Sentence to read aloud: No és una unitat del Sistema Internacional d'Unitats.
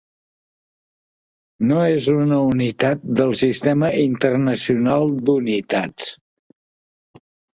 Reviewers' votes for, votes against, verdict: 3, 0, accepted